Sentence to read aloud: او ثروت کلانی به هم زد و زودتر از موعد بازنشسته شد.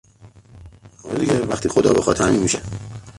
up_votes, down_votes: 0, 2